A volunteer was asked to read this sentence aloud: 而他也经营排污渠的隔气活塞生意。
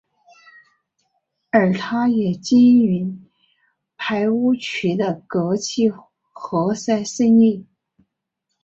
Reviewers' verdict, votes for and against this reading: accepted, 2, 0